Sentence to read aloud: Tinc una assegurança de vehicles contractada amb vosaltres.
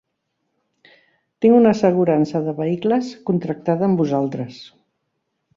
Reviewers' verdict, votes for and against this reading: accepted, 2, 0